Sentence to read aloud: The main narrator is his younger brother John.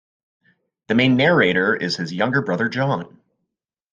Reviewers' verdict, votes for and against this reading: accepted, 2, 0